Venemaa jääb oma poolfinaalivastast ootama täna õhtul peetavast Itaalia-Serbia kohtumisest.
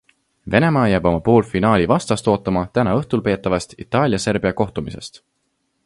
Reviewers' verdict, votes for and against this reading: accepted, 2, 0